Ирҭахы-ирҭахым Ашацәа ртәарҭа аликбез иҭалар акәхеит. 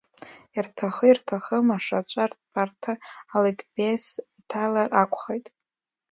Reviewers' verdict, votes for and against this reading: rejected, 1, 2